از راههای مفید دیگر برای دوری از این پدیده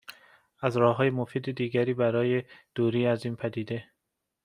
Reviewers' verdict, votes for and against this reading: accepted, 2, 0